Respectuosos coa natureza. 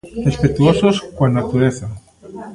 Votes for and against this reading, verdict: 2, 1, accepted